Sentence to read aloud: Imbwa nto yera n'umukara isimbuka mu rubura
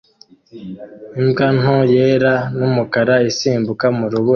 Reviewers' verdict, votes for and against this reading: rejected, 0, 2